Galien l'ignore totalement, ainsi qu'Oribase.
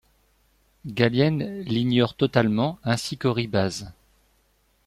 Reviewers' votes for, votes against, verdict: 2, 0, accepted